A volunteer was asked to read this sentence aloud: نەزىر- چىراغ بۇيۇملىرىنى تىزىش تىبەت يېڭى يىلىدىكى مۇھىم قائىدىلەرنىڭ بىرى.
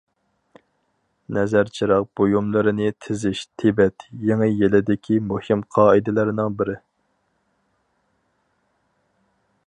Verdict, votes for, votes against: accepted, 4, 0